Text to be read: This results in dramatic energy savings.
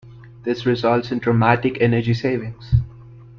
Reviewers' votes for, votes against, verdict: 2, 0, accepted